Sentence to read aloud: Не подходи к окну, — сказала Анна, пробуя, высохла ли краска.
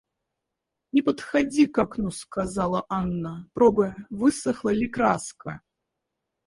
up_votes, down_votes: 2, 4